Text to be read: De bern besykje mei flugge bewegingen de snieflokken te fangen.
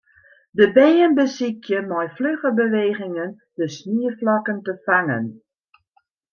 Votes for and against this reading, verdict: 2, 0, accepted